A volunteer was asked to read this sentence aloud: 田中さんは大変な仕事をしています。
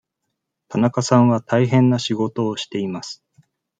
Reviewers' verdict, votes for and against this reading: accepted, 2, 0